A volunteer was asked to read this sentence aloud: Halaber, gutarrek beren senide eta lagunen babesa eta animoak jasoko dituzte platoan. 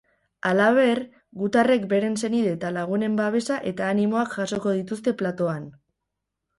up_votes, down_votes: 6, 2